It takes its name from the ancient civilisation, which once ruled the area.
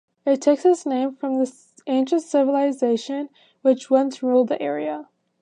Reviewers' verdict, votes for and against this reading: rejected, 0, 2